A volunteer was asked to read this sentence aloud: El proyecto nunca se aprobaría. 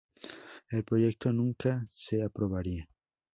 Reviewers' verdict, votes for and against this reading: rejected, 0, 4